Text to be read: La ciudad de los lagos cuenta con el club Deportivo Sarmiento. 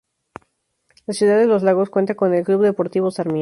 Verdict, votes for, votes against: rejected, 0, 2